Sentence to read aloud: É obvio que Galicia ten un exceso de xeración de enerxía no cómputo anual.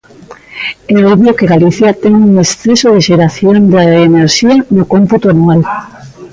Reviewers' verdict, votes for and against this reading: rejected, 0, 2